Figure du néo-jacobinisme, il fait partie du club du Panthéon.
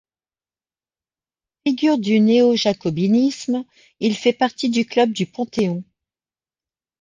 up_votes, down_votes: 1, 2